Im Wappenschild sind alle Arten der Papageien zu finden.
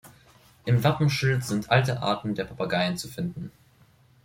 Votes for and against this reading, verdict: 0, 2, rejected